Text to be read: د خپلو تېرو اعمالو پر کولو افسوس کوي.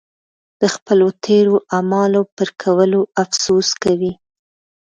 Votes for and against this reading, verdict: 1, 2, rejected